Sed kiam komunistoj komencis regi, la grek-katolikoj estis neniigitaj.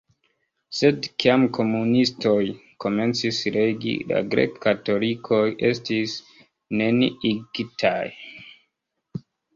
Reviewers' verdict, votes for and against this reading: rejected, 1, 2